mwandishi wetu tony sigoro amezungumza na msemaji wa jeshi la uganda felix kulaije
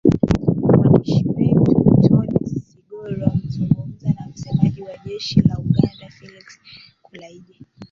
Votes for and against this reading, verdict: 0, 2, rejected